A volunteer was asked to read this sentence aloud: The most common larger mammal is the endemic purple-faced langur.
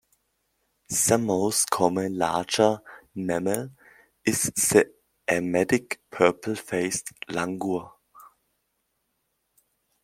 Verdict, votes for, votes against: rejected, 1, 2